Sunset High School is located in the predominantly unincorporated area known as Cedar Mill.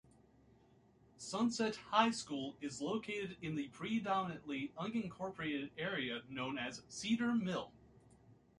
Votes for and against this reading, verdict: 2, 0, accepted